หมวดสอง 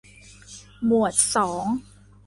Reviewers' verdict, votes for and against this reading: accepted, 2, 0